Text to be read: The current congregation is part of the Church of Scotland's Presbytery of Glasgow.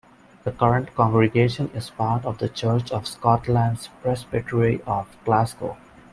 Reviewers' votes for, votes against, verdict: 2, 0, accepted